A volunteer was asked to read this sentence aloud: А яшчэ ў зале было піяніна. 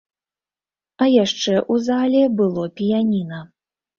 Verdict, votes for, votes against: rejected, 1, 2